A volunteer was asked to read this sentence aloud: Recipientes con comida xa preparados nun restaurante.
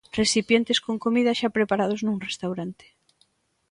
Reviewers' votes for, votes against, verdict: 2, 0, accepted